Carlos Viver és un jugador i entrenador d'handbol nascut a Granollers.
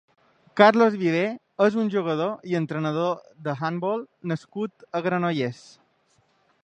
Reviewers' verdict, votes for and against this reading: rejected, 1, 2